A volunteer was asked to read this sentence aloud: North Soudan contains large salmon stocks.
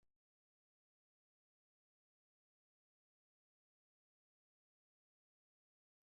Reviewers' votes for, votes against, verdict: 0, 2, rejected